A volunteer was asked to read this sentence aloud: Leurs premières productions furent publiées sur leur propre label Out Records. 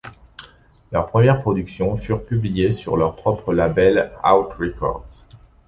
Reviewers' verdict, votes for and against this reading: accepted, 2, 0